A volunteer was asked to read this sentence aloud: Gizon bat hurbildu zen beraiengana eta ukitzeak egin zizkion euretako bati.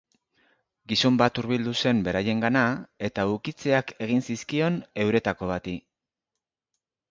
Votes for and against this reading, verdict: 2, 0, accepted